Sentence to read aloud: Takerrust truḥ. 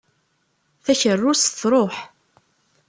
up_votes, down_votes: 1, 2